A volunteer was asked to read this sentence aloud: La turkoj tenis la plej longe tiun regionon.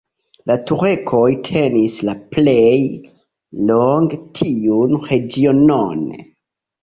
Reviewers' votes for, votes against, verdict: 2, 0, accepted